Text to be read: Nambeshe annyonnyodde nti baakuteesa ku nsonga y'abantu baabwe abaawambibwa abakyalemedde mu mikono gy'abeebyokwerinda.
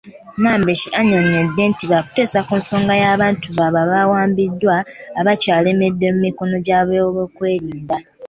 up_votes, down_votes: 2, 1